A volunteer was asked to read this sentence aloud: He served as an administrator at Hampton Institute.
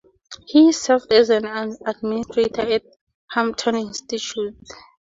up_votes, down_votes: 2, 0